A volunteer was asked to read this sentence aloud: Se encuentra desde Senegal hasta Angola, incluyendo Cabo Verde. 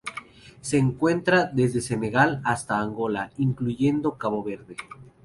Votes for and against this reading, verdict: 2, 0, accepted